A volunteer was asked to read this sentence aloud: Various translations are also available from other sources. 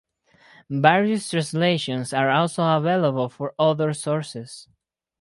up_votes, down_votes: 0, 4